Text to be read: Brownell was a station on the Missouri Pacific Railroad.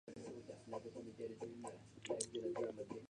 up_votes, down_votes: 0, 2